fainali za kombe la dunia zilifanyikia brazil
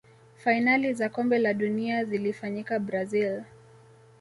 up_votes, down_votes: 2, 0